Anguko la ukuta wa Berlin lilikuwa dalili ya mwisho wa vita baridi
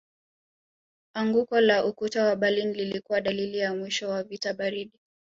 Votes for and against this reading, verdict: 1, 2, rejected